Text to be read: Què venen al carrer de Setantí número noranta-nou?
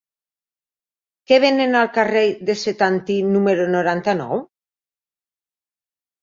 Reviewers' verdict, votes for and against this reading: rejected, 0, 2